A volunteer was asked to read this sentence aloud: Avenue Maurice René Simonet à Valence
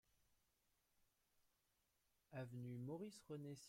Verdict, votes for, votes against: rejected, 0, 2